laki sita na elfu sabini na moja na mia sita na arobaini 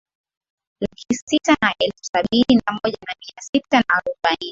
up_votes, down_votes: 2, 0